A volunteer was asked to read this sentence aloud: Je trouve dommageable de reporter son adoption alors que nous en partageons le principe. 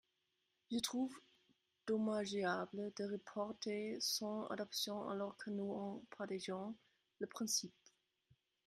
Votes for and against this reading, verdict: 0, 2, rejected